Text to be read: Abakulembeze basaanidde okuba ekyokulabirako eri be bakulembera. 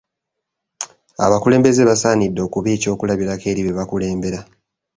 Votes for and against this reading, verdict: 2, 0, accepted